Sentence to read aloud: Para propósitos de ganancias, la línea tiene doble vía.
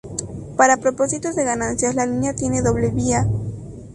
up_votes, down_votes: 2, 0